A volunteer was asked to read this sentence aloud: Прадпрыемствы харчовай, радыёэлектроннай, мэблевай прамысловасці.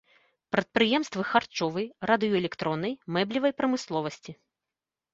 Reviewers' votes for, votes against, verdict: 2, 0, accepted